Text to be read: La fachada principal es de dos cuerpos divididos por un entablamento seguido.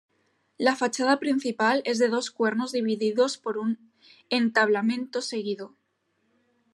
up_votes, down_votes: 1, 2